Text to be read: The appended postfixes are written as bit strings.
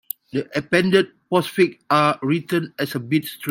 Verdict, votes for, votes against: rejected, 0, 2